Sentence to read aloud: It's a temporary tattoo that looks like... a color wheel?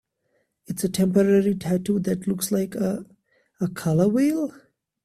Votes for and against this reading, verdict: 2, 0, accepted